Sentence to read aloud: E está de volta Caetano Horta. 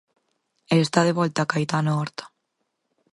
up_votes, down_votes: 4, 0